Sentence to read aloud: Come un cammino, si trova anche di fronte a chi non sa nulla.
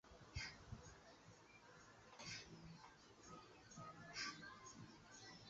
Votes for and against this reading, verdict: 0, 2, rejected